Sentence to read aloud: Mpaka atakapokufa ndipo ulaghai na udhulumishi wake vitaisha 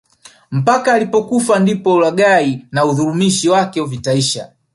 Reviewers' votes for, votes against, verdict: 1, 2, rejected